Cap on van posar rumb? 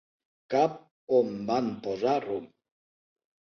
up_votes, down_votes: 0, 2